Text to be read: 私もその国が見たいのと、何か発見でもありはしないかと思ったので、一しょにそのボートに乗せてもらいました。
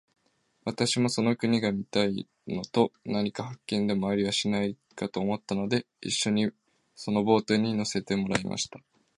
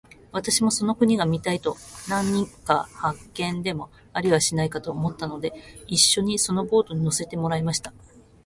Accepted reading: first